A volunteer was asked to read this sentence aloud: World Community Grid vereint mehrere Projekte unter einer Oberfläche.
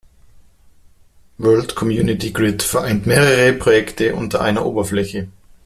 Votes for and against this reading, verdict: 2, 0, accepted